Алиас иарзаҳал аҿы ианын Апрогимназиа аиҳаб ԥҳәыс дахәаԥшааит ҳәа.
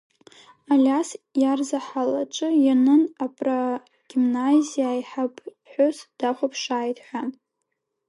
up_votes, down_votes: 0, 2